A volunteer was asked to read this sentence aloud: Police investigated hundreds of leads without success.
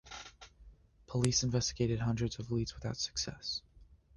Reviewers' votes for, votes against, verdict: 2, 0, accepted